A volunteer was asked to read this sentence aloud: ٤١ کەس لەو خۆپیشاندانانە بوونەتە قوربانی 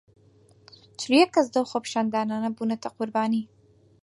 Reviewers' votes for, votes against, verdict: 0, 2, rejected